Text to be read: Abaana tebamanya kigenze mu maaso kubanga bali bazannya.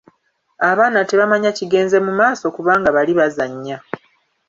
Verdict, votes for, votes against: rejected, 1, 2